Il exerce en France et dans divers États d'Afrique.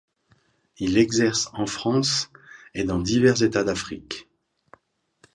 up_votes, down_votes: 2, 0